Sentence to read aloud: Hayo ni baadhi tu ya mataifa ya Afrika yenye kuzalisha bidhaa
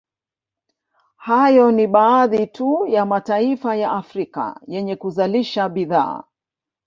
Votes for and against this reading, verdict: 1, 2, rejected